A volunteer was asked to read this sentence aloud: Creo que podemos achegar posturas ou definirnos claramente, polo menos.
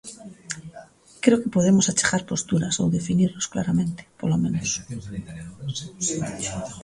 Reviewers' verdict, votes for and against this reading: rejected, 0, 2